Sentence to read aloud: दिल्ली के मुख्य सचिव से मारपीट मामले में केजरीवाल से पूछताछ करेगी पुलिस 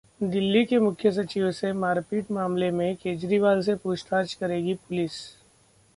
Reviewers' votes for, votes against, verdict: 2, 0, accepted